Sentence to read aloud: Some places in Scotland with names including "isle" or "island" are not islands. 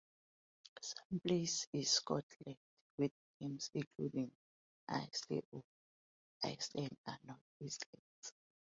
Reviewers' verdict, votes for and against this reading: rejected, 0, 2